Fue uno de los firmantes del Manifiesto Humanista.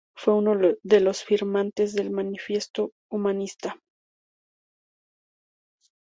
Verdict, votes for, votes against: rejected, 2, 2